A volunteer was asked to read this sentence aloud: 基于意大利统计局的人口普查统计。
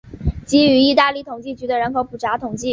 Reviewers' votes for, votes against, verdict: 6, 2, accepted